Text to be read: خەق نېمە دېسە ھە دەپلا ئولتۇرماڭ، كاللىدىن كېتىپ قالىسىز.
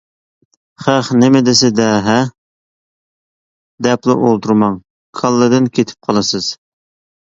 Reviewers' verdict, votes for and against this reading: rejected, 1, 2